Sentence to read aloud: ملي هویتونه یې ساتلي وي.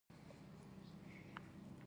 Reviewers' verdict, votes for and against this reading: rejected, 0, 2